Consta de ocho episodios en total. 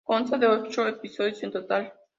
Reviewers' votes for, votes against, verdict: 0, 2, rejected